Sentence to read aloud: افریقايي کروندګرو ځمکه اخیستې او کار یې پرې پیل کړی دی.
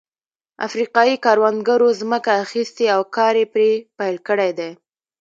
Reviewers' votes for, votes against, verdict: 2, 1, accepted